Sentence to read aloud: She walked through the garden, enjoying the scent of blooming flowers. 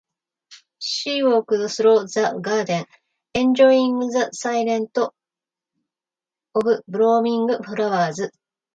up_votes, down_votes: 1, 2